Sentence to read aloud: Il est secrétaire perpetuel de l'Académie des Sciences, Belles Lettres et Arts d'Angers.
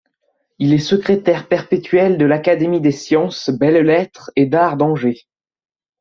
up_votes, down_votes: 1, 2